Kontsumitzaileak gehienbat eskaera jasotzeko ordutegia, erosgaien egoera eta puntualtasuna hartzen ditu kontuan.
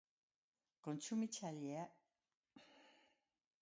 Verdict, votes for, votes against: rejected, 0, 2